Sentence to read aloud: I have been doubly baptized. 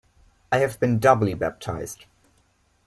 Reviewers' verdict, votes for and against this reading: accepted, 2, 0